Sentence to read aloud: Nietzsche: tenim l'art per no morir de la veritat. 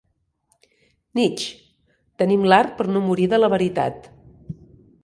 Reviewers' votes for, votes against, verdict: 2, 1, accepted